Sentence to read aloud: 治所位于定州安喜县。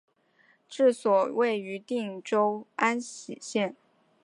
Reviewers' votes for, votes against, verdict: 2, 0, accepted